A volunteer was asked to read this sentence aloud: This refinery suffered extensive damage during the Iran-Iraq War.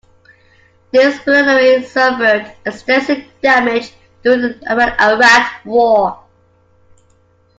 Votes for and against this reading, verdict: 0, 2, rejected